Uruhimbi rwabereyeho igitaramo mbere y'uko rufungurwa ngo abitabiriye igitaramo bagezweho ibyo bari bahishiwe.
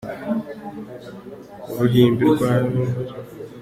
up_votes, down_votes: 0, 2